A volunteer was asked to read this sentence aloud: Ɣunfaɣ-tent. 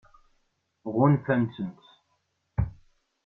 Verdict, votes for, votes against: rejected, 1, 2